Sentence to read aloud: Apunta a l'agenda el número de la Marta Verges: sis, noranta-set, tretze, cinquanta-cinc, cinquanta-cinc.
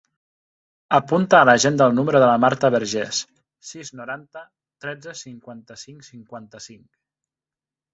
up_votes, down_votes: 0, 2